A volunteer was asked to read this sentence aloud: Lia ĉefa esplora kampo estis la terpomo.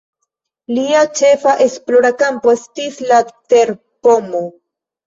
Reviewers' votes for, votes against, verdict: 2, 0, accepted